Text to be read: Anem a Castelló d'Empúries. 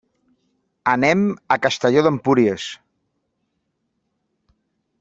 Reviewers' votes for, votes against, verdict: 3, 0, accepted